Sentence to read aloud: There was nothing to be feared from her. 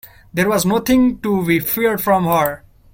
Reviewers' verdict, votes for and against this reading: accepted, 2, 0